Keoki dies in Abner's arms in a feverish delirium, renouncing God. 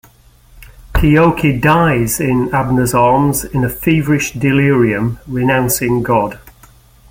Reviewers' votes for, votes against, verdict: 2, 0, accepted